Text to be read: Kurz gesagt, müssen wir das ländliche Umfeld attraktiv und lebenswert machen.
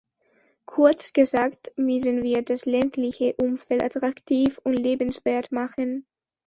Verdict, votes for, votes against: rejected, 1, 2